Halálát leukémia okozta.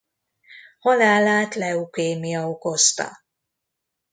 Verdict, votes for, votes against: accepted, 2, 0